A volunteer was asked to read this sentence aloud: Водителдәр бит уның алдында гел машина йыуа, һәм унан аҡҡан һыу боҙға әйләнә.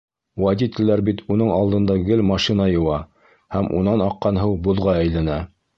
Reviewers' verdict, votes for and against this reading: rejected, 1, 2